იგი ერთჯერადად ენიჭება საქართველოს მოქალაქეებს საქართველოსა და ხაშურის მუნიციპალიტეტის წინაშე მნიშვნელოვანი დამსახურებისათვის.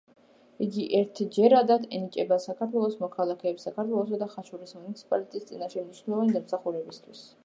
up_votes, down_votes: 1, 3